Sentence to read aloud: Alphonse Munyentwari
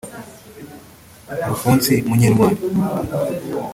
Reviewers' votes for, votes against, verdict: 1, 2, rejected